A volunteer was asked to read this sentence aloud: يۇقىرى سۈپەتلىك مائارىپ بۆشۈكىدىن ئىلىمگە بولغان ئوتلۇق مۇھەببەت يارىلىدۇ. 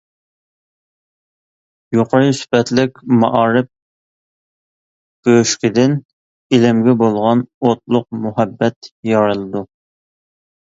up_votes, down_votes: 2, 0